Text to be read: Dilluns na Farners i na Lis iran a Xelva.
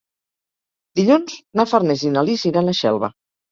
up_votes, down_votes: 4, 0